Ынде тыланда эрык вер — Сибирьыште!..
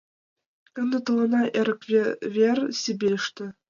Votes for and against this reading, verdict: 0, 2, rejected